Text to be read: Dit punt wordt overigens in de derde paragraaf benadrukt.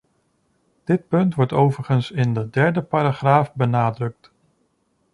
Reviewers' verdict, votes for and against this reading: accepted, 2, 0